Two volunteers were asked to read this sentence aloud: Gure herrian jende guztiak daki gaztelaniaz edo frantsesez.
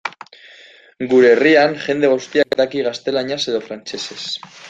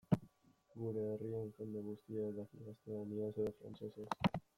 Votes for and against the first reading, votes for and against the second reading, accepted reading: 2, 0, 0, 2, first